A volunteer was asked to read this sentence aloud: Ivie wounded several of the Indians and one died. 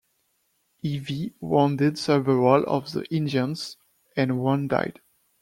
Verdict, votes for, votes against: rejected, 1, 2